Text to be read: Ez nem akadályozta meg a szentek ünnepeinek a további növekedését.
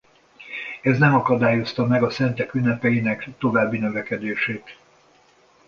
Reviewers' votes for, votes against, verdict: 2, 1, accepted